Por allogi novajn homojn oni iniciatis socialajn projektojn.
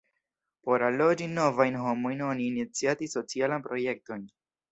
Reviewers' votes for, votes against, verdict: 1, 2, rejected